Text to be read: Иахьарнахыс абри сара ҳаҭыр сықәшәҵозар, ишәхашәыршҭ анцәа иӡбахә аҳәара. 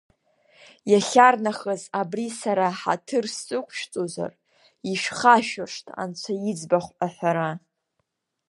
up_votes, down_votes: 2, 0